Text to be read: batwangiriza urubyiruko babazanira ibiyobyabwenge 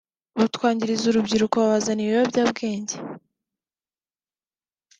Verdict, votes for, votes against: accepted, 3, 0